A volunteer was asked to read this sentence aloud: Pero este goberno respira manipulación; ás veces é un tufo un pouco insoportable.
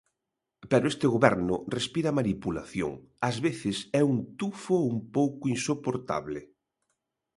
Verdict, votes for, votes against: accepted, 2, 0